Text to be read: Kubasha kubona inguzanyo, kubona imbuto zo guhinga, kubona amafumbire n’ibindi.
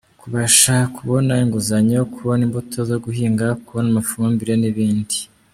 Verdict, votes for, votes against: accepted, 2, 1